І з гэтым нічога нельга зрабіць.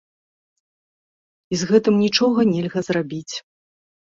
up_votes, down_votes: 2, 0